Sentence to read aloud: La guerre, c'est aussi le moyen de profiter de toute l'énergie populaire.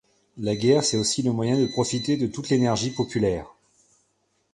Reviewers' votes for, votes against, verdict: 2, 0, accepted